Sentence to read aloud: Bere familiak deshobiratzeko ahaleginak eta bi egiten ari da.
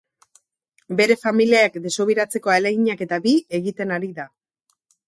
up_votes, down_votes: 2, 2